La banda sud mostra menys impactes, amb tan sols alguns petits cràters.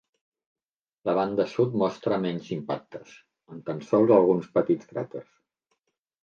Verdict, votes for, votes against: accepted, 3, 0